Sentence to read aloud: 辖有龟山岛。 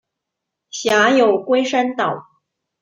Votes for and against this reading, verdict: 2, 0, accepted